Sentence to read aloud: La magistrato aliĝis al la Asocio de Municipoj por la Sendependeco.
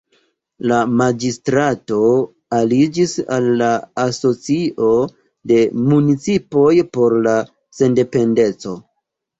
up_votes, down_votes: 1, 2